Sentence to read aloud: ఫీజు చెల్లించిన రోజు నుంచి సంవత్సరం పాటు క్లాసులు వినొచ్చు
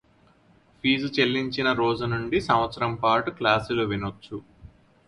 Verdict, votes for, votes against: accepted, 4, 0